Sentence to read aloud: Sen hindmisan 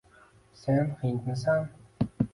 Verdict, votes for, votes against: accepted, 2, 0